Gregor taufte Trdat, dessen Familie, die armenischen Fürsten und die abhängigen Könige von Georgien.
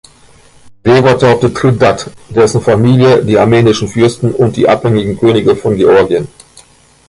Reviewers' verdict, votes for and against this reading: rejected, 1, 2